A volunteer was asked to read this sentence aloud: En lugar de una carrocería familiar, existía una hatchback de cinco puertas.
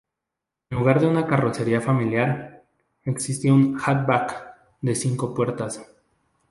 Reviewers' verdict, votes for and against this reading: rejected, 0, 2